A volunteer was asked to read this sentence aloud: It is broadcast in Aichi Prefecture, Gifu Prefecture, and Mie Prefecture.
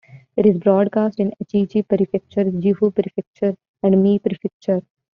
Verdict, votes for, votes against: rejected, 1, 2